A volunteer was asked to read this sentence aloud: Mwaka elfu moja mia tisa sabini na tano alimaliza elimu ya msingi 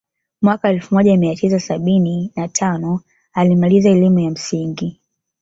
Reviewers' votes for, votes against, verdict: 2, 1, accepted